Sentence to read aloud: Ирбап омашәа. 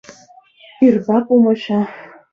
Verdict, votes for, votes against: rejected, 0, 2